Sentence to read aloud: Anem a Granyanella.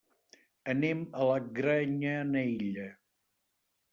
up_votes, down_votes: 1, 2